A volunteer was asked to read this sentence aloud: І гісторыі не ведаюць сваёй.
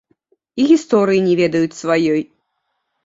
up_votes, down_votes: 1, 2